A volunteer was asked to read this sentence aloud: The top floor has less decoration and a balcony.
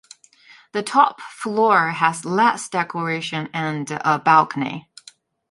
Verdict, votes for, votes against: accepted, 2, 1